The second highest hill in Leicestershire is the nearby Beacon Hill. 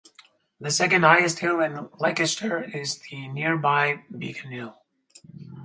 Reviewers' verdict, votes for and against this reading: rejected, 2, 2